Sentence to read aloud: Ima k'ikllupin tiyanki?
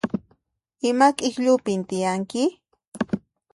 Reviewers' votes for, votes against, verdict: 2, 0, accepted